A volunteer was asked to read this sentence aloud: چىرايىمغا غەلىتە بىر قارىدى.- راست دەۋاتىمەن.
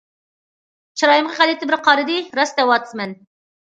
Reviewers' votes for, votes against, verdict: 0, 2, rejected